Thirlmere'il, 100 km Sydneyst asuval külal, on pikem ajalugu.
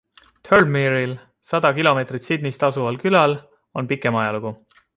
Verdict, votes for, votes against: rejected, 0, 2